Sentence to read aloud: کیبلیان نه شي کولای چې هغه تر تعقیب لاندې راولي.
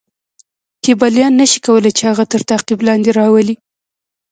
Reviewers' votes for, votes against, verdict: 2, 0, accepted